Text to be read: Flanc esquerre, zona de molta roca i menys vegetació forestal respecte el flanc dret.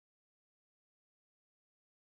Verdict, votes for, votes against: rejected, 1, 2